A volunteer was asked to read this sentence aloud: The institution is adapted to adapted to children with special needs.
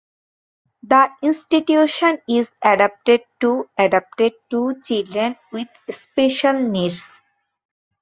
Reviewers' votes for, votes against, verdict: 2, 0, accepted